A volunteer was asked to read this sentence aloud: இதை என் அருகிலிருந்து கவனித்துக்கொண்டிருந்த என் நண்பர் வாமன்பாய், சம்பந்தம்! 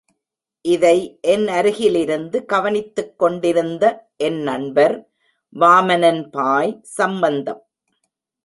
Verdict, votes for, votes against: rejected, 0, 2